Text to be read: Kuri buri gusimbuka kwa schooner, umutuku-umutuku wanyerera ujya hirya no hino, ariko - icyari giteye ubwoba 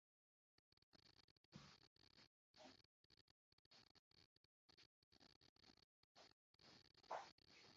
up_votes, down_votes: 0, 2